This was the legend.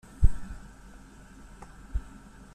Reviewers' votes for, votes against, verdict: 0, 2, rejected